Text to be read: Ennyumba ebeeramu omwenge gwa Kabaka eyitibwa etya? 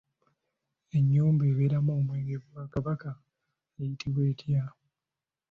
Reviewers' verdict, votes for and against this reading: accepted, 2, 0